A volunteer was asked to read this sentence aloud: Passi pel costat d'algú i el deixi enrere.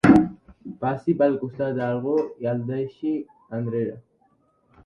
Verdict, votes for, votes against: accepted, 2, 0